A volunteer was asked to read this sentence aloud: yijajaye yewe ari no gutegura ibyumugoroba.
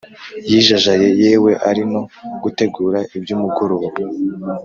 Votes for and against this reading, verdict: 2, 0, accepted